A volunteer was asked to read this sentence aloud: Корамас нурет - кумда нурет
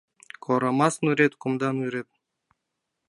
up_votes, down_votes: 1, 2